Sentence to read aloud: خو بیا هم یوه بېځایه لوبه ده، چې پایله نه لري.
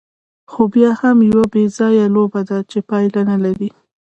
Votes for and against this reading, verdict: 2, 0, accepted